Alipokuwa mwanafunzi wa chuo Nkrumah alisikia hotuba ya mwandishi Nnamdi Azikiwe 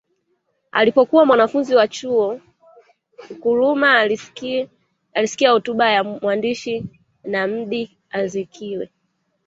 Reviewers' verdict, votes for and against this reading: rejected, 0, 2